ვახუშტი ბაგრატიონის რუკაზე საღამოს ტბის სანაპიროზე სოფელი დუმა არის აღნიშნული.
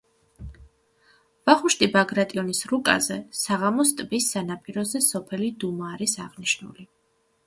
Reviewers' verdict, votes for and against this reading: accepted, 2, 0